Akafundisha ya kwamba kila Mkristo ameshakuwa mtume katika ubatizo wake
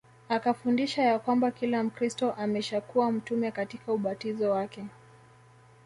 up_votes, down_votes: 0, 2